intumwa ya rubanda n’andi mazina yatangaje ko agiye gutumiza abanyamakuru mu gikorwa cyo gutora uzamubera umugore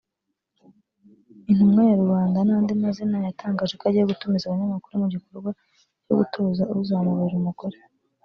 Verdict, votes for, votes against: accepted, 2, 0